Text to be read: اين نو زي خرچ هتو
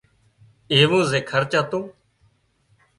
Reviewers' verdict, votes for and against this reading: rejected, 0, 2